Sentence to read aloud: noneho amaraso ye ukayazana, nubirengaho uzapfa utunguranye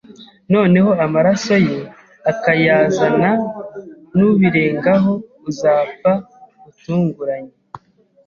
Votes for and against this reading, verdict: 0, 2, rejected